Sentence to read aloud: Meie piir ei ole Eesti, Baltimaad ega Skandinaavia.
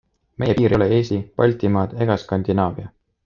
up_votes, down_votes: 2, 1